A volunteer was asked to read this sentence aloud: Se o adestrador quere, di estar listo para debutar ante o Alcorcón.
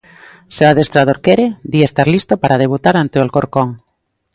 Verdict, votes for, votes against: accepted, 2, 0